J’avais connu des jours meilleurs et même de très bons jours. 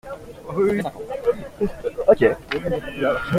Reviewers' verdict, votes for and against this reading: rejected, 0, 3